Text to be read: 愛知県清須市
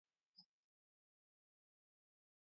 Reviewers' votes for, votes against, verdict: 0, 2, rejected